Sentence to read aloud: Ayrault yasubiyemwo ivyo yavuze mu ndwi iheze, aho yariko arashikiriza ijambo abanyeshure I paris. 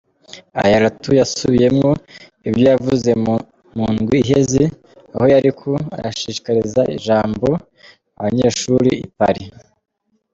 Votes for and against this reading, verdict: 1, 2, rejected